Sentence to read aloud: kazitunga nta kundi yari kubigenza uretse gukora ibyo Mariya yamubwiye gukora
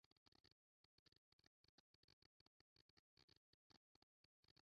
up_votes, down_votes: 0, 2